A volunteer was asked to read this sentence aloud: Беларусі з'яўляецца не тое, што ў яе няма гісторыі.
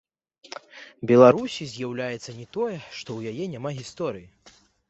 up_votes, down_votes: 1, 2